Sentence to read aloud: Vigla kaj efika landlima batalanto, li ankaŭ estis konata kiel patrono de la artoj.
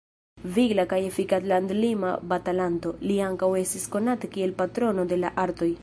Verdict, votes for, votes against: rejected, 0, 2